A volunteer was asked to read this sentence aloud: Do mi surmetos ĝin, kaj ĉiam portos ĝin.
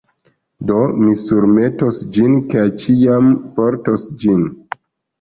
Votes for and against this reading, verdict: 2, 1, accepted